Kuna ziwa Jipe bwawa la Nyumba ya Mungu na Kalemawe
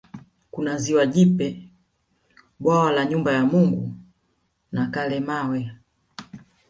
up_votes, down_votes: 1, 2